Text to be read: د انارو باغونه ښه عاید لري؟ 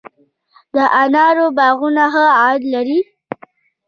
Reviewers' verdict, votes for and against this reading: rejected, 1, 2